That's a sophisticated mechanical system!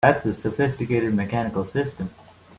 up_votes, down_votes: 3, 1